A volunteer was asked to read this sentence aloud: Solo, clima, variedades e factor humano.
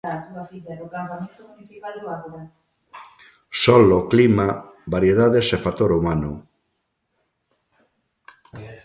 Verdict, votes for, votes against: rejected, 1, 2